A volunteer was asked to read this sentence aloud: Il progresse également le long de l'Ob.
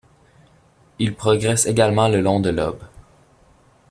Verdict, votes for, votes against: accepted, 2, 1